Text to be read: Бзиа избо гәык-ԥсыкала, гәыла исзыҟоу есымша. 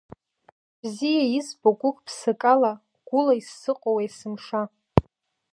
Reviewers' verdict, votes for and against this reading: accepted, 2, 1